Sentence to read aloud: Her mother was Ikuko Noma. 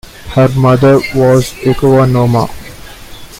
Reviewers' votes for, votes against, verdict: 0, 2, rejected